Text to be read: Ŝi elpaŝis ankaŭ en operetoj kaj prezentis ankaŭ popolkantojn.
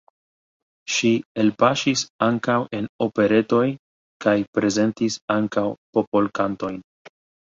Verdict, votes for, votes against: accepted, 2, 0